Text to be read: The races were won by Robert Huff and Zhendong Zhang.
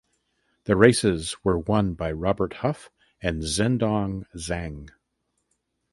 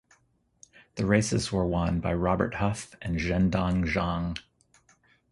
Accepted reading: second